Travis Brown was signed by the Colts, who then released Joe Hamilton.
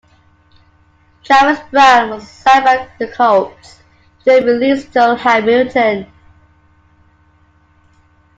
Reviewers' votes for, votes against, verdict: 1, 2, rejected